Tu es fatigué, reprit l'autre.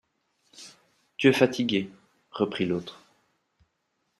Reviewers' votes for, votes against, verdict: 2, 0, accepted